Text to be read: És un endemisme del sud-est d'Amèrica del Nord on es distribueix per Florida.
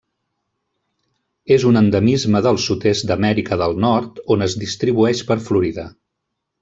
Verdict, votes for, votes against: accepted, 3, 0